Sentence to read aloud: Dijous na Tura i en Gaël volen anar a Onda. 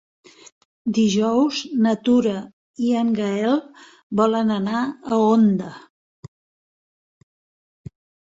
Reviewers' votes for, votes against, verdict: 3, 0, accepted